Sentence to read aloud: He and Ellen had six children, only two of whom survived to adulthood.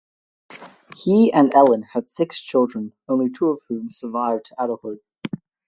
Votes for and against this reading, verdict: 4, 0, accepted